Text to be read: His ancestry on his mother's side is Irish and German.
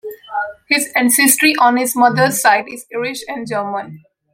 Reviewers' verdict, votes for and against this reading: accepted, 2, 0